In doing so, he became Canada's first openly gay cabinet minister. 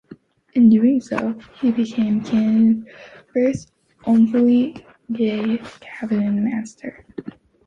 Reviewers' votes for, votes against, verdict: 2, 3, rejected